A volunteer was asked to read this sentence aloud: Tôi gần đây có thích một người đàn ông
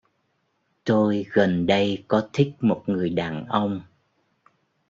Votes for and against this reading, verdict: 2, 0, accepted